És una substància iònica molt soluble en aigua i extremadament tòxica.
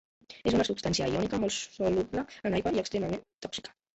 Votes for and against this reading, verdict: 0, 2, rejected